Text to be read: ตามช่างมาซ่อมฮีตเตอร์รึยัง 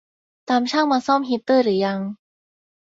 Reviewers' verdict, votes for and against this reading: rejected, 2, 2